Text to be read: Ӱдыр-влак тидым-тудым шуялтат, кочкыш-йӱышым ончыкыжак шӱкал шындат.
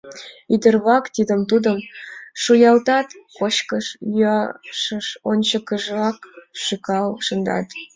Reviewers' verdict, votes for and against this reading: rejected, 0, 2